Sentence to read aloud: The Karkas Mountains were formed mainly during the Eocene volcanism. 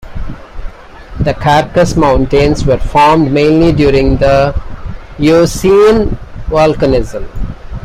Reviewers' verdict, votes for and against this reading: rejected, 1, 2